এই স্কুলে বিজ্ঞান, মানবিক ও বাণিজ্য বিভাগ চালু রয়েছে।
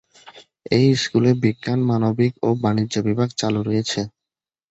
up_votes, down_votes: 2, 0